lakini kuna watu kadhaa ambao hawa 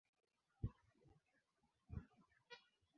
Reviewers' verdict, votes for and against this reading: rejected, 0, 2